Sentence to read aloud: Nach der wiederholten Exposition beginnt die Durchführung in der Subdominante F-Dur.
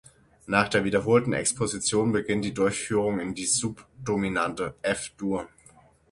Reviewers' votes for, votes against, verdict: 0, 6, rejected